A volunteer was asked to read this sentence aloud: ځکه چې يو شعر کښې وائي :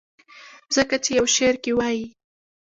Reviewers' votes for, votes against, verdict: 1, 2, rejected